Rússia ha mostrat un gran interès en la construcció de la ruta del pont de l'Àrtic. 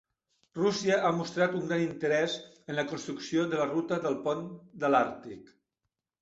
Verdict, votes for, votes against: accepted, 3, 1